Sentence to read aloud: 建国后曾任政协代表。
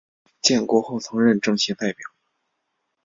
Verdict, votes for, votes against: accepted, 2, 0